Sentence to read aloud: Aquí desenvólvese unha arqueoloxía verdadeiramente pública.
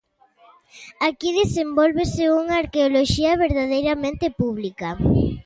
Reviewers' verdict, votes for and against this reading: accepted, 2, 0